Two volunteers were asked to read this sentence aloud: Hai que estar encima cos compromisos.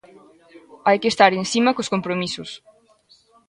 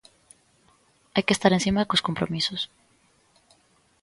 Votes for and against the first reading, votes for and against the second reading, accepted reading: 1, 2, 2, 0, second